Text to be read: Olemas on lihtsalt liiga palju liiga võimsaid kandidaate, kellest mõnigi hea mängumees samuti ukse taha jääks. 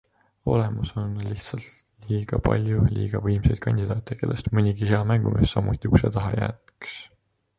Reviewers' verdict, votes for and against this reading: accepted, 2, 0